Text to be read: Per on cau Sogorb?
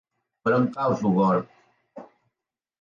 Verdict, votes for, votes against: accepted, 4, 2